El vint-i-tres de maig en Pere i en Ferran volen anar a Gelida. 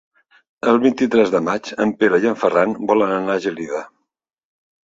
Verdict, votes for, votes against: accepted, 3, 0